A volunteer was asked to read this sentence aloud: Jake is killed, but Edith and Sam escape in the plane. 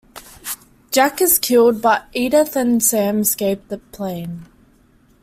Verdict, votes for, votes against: rejected, 0, 2